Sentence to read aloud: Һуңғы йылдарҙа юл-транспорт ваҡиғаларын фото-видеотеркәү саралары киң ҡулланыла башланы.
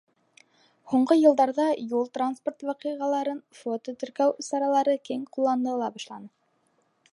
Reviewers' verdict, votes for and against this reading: rejected, 3, 4